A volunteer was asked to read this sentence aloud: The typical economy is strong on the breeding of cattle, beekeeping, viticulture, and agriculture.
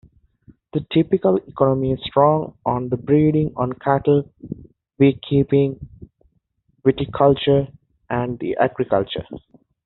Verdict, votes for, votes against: rejected, 0, 2